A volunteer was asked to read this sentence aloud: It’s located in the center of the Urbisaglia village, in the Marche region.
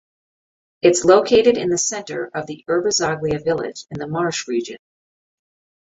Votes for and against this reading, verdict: 2, 0, accepted